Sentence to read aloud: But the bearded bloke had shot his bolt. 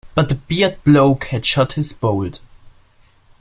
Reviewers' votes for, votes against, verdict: 0, 2, rejected